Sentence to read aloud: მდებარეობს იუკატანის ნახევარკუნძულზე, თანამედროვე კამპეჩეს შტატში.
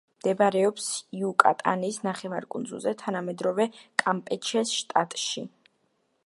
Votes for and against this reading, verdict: 2, 0, accepted